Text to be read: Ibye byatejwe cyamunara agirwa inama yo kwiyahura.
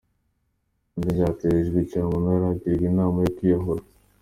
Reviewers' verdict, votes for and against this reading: accepted, 2, 0